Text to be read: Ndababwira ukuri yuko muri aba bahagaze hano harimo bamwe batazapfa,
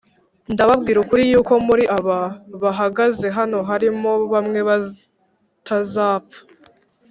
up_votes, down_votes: 1, 2